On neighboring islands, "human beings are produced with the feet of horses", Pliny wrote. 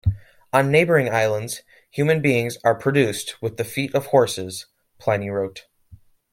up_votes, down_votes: 3, 1